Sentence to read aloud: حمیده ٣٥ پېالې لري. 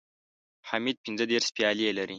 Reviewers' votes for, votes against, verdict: 0, 2, rejected